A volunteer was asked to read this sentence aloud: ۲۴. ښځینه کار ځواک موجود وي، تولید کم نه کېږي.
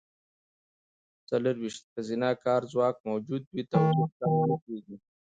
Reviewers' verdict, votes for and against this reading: rejected, 0, 2